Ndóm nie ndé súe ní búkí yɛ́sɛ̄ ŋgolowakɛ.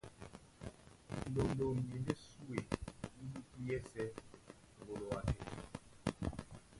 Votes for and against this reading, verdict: 0, 2, rejected